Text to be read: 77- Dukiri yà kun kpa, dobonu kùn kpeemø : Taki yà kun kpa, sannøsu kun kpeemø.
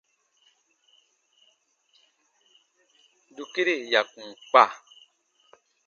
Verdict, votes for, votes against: rejected, 0, 2